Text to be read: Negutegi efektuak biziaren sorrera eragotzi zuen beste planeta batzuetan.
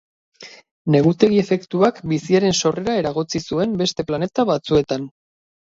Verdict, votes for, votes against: accepted, 6, 0